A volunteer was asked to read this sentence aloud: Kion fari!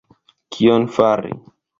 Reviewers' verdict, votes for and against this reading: accepted, 2, 0